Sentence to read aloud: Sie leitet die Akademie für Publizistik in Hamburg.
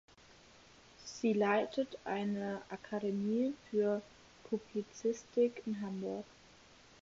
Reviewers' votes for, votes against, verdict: 0, 4, rejected